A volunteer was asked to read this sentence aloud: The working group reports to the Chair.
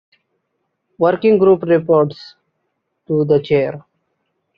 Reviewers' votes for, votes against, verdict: 1, 2, rejected